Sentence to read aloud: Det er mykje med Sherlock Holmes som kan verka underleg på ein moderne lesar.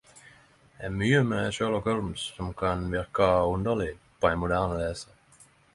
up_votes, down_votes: 10, 0